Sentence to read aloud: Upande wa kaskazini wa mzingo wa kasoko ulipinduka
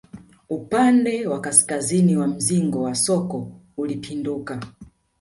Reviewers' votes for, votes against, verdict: 0, 2, rejected